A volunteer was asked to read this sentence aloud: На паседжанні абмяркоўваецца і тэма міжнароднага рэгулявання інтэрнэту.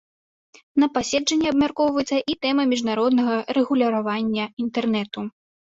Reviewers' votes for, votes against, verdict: 0, 2, rejected